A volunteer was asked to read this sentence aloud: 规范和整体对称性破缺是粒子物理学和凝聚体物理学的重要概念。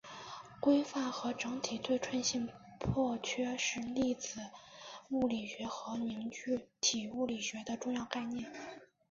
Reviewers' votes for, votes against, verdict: 2, 0, accepted